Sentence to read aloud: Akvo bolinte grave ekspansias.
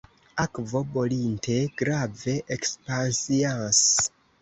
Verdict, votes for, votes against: rejected, 0, 2